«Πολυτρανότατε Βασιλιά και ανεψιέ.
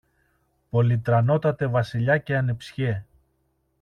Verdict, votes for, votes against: accepted, 2, 0